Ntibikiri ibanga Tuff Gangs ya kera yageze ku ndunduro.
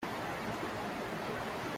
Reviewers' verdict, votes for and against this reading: rejected, 0, 2